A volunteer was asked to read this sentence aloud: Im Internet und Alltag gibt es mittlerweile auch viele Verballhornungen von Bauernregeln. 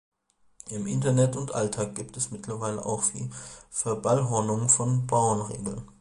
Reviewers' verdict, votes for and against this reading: rejected, 1, 2